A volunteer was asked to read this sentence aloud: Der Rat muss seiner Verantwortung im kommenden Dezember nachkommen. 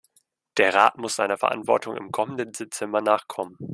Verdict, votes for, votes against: rejected, 0, 2